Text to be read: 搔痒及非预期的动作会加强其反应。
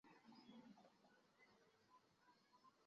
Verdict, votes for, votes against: rejected, 0, 4